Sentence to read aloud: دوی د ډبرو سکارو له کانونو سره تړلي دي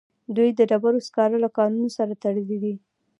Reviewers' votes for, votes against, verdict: 2, 0, accepted